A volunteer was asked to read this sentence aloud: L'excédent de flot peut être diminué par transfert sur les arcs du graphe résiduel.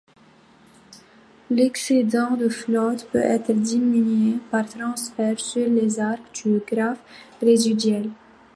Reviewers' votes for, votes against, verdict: 1, 2, rejected